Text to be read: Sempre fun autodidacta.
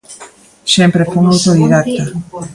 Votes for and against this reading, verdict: 1, 2, rejected